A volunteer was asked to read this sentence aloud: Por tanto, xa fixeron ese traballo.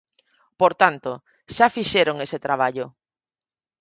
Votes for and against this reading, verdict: 4, 0, accepted